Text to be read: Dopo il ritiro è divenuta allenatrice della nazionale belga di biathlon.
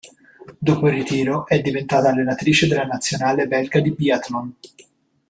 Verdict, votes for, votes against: rejected, 0, 2